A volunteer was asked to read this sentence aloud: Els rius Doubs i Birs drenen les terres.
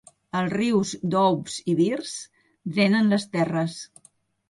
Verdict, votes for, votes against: accepted, 2, 0